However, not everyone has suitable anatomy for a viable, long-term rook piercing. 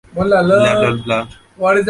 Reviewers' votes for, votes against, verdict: 0, 2, rejected